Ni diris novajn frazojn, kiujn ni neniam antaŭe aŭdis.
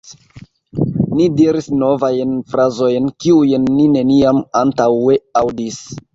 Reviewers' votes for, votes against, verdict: 2, 1, accepted